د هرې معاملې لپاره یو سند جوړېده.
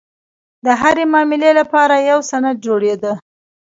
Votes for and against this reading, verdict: 0, 2, rejected